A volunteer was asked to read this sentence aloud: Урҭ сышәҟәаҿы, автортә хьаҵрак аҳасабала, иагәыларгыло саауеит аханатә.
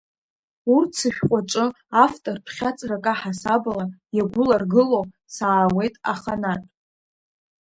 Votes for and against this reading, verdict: 1, 2, rejected